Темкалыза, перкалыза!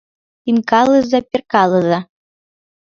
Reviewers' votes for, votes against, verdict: 0, 2, rejected